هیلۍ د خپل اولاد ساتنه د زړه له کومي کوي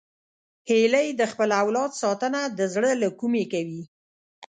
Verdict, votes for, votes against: rejected, 1, 2